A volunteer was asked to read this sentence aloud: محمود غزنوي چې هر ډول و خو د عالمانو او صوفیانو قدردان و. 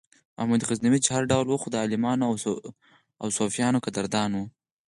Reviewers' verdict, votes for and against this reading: accepted, 4, 0